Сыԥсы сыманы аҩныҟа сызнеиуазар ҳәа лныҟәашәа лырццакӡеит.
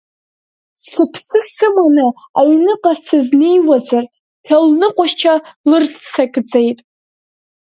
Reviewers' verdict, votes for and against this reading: rejected, 1, 2